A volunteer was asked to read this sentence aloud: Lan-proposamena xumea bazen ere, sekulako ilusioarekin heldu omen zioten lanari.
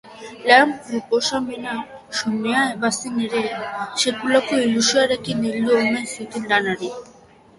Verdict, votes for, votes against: accepted, 2, 1